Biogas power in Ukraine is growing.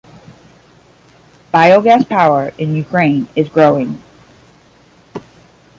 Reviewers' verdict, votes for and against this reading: accepted, 10, 0